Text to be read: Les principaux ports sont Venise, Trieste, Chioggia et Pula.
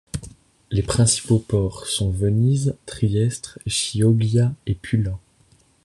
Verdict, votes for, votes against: rejected, 0, 2